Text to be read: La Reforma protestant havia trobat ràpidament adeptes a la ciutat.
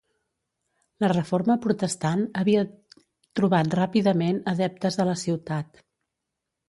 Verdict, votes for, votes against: rejected, 1, 2